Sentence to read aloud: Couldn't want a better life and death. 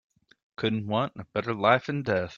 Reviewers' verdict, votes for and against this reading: accepted, 4, 0